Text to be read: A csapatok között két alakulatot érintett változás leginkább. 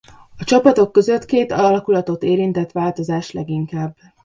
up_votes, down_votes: 0, 2